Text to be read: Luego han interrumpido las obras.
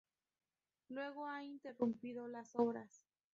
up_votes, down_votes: 4, 0